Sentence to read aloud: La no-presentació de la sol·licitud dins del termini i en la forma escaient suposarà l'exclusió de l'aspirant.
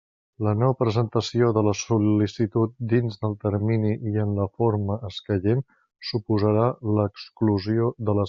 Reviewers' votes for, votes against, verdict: 0, 2, rejected